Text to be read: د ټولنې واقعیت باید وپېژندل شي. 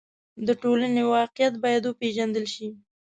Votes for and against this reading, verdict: 1, 2, rejected